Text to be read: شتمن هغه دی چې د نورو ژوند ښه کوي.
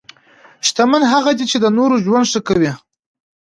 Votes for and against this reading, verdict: 2, 0, accepted